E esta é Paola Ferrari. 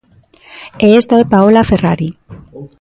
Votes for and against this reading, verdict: 1, 2, rejected